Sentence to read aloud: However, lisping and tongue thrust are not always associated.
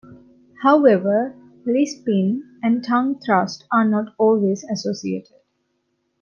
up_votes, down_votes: 2, 1